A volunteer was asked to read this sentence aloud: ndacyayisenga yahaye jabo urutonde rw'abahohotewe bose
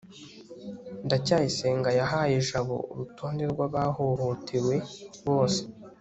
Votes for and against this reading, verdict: 2, 0, accepted